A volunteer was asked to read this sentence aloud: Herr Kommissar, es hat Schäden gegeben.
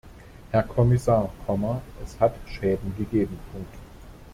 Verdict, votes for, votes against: rejected, 0, 2